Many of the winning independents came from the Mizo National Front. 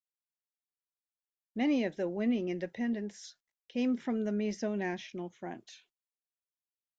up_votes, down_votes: 2, 1